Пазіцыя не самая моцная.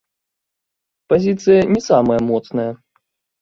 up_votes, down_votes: 1, 2